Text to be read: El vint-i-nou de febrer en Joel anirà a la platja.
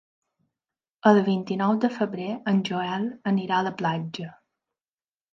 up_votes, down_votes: 3, 0